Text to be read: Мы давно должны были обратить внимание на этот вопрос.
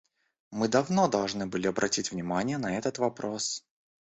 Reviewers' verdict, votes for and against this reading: rejected, 0, 2